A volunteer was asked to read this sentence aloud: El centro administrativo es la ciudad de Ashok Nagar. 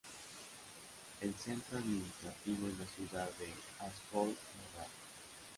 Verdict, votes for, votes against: rejected, 1, 2